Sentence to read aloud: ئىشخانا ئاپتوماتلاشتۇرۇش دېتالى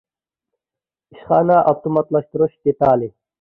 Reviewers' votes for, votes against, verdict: 2, 0, accepted